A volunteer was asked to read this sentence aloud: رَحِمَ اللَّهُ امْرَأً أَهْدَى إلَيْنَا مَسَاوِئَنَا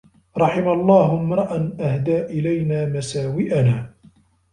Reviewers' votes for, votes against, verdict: 2, 0, accepted